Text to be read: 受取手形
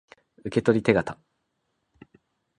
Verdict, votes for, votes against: accepted, 2, 0